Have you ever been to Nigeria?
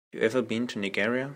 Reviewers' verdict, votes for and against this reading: rejected, 0, 2